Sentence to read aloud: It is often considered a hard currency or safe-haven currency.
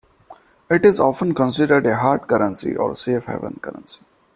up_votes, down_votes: 2, 0